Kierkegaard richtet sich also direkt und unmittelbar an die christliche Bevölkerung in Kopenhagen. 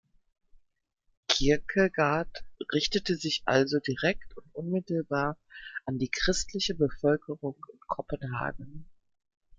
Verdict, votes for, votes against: rejected, 0, 2